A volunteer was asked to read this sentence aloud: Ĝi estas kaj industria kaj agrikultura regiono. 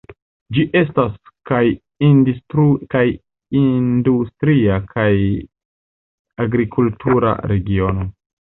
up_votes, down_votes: 0, 2